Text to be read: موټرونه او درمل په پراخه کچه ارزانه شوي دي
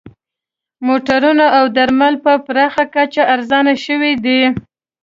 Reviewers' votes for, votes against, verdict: 2, 0, accepted